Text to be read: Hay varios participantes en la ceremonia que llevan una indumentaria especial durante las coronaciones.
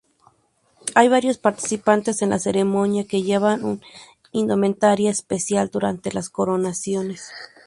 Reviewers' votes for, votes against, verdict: 2, 0, accepted